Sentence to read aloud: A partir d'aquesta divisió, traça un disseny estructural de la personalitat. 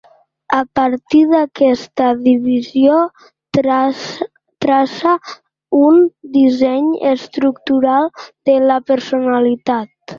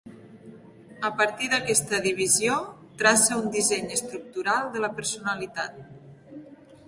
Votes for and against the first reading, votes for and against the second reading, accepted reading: 0, 2, 2, 0, second